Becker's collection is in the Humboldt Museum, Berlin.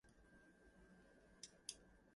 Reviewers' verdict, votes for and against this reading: rejected, 1, 2